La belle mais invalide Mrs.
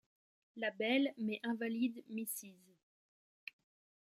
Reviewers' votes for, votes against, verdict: 1, 2, rejected